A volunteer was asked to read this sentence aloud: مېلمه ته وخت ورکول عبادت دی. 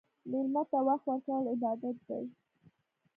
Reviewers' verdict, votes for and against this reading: accepted, 2, 0